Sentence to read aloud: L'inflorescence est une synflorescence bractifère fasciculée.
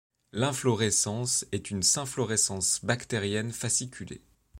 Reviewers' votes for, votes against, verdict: 0, 2, rejected